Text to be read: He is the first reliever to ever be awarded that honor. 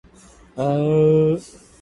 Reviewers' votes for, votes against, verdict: 0, 2, rejected